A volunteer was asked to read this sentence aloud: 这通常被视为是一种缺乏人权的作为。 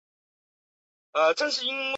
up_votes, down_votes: 0, 2